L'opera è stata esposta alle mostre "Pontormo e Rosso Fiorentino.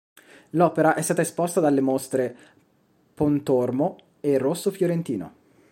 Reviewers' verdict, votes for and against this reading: rejected, 0, 2